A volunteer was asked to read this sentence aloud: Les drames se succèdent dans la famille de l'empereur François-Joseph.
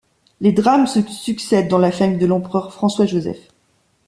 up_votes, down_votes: 1, 2